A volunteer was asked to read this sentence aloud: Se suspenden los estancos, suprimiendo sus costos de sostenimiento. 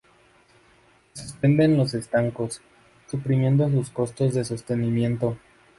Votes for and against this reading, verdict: 0, 2, rejected